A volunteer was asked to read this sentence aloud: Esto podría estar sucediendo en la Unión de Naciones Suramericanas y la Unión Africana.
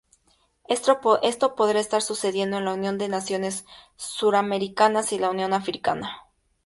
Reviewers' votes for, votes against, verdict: 2, 0, accepted